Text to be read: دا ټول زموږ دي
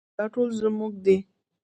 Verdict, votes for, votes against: rejected, 1, 2